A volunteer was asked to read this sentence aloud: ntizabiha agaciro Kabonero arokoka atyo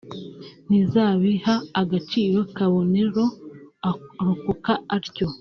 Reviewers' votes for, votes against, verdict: 1, 2, rejected